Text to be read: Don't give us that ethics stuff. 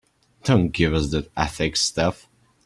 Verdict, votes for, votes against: accepted, 2, 0